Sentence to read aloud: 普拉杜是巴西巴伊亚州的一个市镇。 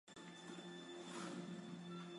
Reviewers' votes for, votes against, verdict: 0, 2, rejected